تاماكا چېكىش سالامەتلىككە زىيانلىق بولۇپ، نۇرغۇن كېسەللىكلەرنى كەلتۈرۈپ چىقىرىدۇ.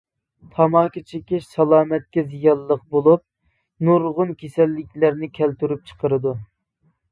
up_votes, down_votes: 2, 0